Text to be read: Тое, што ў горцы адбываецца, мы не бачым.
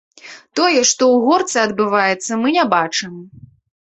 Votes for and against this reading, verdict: 2, 0, accepted